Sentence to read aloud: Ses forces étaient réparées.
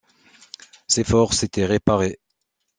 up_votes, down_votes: 2, 0